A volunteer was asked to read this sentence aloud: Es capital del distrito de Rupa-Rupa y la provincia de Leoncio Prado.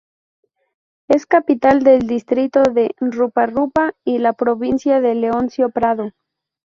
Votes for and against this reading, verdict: 2, 0, accepted